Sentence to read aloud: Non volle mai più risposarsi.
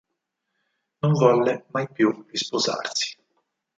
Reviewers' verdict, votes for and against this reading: rejected, 2, 4